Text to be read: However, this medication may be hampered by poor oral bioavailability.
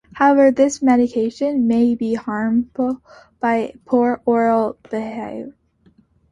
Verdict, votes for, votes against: rejected, 0, 3